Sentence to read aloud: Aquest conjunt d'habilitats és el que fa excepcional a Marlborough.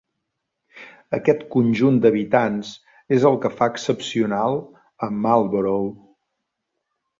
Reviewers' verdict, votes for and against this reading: rejected, 1, 2